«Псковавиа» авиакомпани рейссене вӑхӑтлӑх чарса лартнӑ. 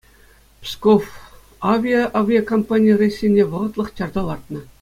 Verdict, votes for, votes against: accepted, 2, 0